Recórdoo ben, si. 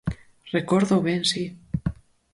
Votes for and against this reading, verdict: 4, 0, accepted